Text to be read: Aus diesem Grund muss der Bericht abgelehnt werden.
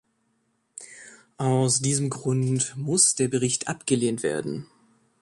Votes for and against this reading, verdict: 3, 0, accepted